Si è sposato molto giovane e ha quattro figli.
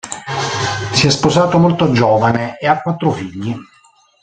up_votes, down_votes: 0, 2